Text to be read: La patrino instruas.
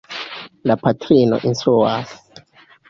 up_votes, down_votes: 0, 2